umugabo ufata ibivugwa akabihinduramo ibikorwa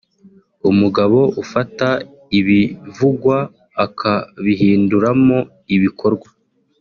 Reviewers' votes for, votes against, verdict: 2, 0, accepted